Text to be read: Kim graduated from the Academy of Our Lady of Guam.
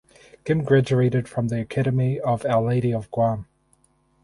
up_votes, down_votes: 2, 2